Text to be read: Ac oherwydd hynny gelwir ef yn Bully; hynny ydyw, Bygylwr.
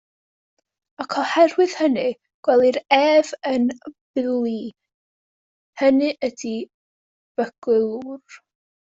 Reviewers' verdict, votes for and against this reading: rejected, 0, 2